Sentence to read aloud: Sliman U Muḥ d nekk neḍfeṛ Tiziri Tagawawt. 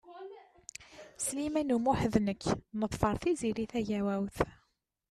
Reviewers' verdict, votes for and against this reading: rejected, 1, 2